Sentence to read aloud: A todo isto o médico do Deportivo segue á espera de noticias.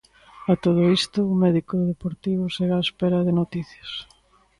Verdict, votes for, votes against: accepted, 2, 0